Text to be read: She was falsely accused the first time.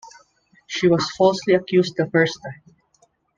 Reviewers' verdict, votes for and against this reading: accepted, 2, 0